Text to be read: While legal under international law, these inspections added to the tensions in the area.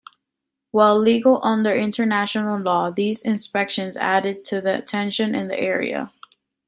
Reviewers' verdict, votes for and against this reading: accepted, 2, 1